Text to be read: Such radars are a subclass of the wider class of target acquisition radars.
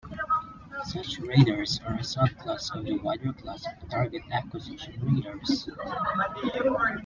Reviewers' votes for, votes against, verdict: 0, 2, rejected